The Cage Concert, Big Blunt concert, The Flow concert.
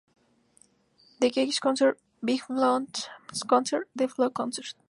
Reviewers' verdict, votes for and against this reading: rejected, 0, 2